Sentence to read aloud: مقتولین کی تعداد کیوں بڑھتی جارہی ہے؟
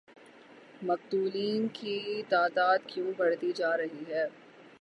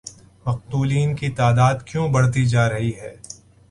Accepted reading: second